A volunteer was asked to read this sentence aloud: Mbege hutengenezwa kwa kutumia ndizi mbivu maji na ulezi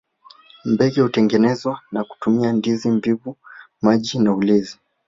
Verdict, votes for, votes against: rejected, 1, 2